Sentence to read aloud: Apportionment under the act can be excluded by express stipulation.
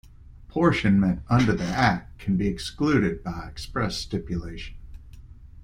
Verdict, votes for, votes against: accepted, 2, 0